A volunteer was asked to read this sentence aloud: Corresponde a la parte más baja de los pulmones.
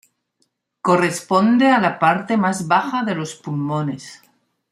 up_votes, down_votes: 2, 0